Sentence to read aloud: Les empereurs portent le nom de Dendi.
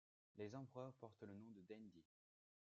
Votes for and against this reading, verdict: 2, 1, accepted